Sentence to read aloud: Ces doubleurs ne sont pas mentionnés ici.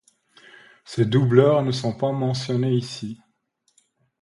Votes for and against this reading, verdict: 2, 0, accepted